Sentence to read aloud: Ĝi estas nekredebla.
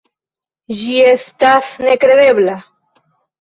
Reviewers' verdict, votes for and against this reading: accepted, 2, 1